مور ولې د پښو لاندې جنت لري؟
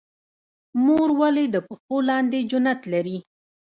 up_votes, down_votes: 0, 2